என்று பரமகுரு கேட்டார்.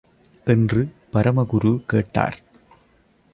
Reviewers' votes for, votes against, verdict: 2, 0, accepted